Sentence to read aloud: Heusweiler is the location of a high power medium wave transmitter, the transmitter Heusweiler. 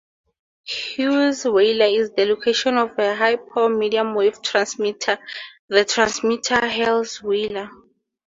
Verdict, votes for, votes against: accepted, 2, 0